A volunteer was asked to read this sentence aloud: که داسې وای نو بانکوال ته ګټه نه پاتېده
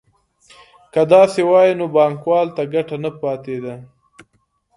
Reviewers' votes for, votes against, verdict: 2, 0, accepted